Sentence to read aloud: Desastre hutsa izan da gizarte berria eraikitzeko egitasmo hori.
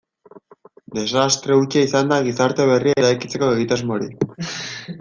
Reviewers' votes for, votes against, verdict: 0, 3, rejected